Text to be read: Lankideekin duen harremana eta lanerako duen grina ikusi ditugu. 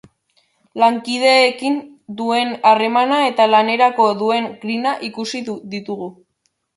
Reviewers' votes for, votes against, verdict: 0, 2, rejected